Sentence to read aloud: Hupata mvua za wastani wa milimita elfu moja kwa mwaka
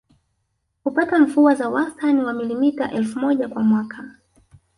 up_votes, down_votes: 1, 2